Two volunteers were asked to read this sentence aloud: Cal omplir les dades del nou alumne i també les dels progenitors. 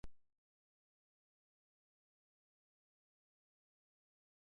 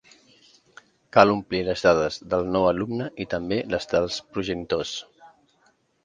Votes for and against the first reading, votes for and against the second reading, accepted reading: 0, 2, 2, 0, second